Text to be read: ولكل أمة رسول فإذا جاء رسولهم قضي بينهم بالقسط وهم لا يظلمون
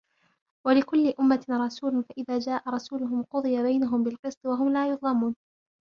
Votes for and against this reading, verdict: 1, 2, rejected